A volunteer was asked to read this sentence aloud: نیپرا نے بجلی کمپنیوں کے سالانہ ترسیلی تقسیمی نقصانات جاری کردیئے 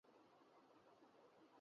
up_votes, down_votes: 0, 3